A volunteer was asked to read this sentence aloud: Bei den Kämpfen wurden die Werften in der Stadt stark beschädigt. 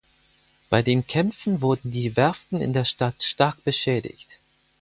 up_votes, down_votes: 4, 0